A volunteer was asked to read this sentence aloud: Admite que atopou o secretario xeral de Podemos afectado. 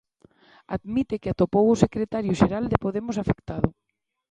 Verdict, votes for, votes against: accepted, 2, 0